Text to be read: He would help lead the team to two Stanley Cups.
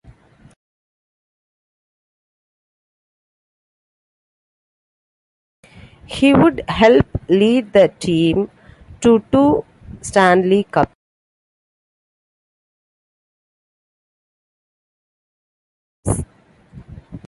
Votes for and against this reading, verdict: 1, 2, rejected